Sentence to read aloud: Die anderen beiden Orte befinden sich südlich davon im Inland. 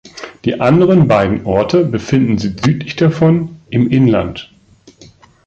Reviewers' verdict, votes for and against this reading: rejected, 1, 2